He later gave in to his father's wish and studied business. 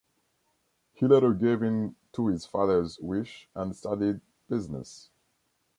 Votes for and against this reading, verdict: 2, 0, accepted